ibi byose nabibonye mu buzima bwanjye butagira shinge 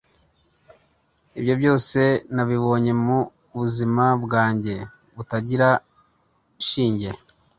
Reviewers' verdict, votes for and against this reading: accepted, 3, 0